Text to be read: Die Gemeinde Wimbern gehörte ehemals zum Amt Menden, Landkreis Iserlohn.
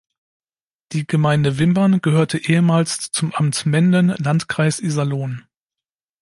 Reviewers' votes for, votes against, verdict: 2, 0, accepted